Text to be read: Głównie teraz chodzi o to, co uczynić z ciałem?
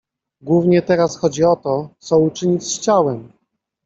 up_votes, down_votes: 1, 2